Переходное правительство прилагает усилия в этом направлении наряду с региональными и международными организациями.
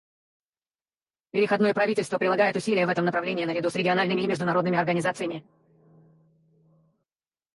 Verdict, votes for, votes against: rejected, 2, 2